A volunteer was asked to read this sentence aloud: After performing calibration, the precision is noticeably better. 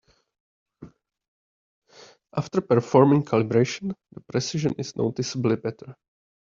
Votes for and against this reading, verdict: 2, 0, accepted